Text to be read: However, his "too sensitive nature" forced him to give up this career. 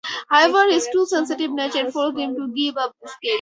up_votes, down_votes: 0, 4